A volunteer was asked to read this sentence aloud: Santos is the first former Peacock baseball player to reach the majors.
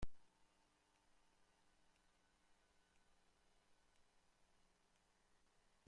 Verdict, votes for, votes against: rejected, 0, 2